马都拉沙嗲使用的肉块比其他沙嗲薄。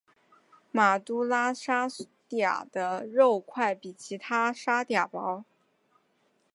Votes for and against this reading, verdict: 5, 3, accepted